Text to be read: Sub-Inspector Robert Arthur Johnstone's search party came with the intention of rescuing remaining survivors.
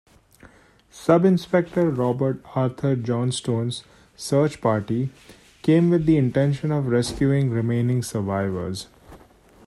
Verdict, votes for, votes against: rejected, 0, 2